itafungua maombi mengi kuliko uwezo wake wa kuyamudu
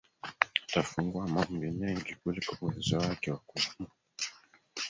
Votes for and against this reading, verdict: 0, 2, rejected